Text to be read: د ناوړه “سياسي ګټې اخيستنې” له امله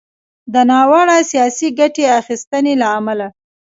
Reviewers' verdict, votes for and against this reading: accepted, 2, 1